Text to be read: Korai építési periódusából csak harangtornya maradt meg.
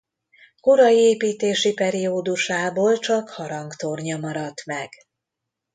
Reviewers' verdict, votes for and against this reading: accepted, 2, 0